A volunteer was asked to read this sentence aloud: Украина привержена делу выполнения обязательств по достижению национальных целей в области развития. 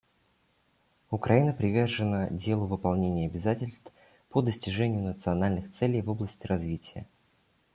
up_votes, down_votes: 2, 1